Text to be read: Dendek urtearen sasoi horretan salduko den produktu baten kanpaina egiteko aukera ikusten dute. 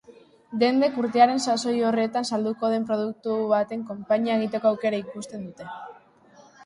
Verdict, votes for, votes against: rejected, 1, 2